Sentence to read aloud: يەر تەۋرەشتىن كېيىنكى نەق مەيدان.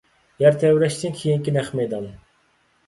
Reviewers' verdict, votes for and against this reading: accepted, 2, 0